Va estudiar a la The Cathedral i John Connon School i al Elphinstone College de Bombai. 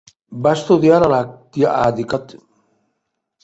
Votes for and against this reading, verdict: 0, 3, rejected